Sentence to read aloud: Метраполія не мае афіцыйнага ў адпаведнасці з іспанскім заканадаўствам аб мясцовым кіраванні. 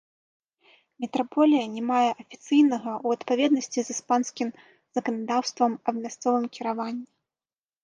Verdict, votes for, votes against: rejected, 1, 2